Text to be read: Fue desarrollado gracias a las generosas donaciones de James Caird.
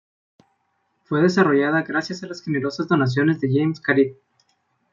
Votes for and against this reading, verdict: 1, 2, rejected